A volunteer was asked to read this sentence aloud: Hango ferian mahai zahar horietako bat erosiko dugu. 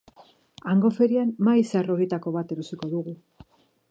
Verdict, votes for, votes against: accepted, 2, 0